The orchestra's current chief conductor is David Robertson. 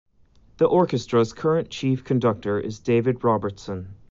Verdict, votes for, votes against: accepted, 2, 0